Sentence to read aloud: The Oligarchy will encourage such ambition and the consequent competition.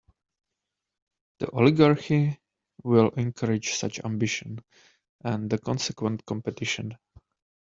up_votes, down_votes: 2, 0